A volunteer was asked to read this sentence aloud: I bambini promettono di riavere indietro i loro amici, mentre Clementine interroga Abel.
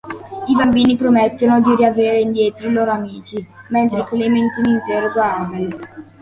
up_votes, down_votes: 2, 1